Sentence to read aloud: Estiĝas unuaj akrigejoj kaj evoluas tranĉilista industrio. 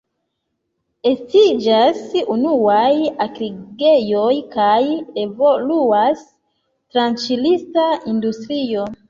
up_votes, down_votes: 1, 2